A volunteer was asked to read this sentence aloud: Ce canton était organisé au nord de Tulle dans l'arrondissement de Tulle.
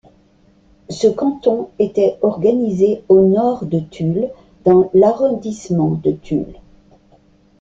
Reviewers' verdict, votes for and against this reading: accepted, 2, 0